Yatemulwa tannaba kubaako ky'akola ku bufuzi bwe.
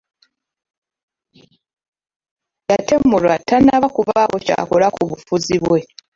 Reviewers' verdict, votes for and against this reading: rejected, 1, 2